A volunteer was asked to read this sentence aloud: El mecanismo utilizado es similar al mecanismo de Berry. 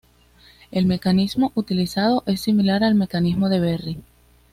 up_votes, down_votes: 2, 0